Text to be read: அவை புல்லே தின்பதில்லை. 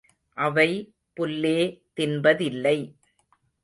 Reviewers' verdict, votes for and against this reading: rejected, 1, 2